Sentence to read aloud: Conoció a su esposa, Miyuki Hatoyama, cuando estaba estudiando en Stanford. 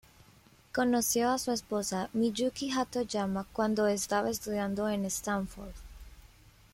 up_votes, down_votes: 0, 2